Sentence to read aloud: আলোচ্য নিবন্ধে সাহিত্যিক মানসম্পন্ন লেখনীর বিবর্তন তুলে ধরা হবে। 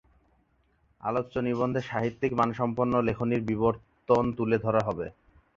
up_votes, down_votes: 0, 2